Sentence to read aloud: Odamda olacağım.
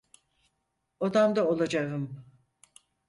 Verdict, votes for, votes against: accepted, 4, 0